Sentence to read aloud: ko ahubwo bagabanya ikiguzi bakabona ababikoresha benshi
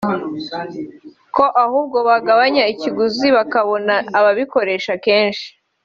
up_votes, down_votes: 3, 1